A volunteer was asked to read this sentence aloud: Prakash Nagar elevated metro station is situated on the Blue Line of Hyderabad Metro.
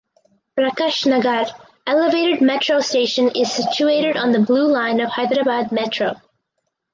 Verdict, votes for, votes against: accepted, 4, 0